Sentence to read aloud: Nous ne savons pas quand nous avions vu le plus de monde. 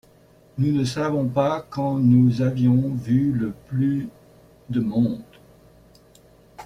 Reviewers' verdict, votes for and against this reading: accepted, 2, 0